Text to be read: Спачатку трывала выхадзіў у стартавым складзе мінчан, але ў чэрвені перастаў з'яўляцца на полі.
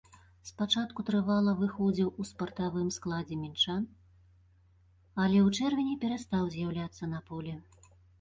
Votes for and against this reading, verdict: 0, 2, rejected